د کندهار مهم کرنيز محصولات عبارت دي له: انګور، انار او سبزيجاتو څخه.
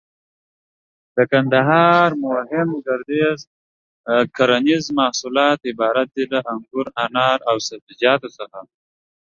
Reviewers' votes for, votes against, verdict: 0, 2, rejected